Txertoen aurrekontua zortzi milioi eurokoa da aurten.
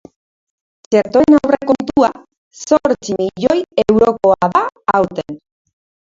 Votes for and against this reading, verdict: 0, 2, rejected